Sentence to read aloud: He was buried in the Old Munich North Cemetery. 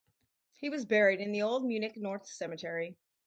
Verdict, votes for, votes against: accepted, 4, 0